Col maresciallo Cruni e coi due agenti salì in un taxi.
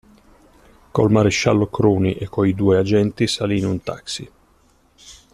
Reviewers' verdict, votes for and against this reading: accepted, 2, 1